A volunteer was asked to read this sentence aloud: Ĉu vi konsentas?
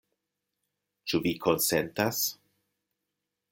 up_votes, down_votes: 2, 0